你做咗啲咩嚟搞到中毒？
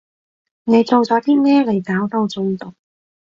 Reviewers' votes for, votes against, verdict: 3, 0, accepted